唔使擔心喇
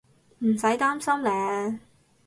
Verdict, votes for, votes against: rejected, 0, 2